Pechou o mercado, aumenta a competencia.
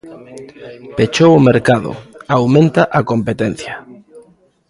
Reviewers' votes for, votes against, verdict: 1, 2, rejected